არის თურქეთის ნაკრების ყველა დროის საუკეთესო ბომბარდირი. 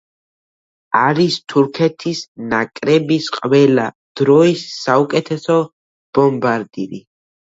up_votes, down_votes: 2, 1